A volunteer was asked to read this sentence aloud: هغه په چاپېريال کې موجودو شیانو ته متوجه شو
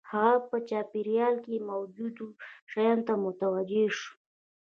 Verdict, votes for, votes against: rejected, 1, 2